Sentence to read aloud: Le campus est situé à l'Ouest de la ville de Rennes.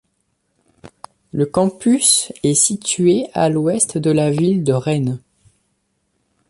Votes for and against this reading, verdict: 2, 0, accepted